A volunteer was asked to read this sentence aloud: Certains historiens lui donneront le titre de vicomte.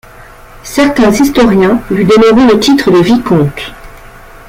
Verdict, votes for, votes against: accepted, 2, 1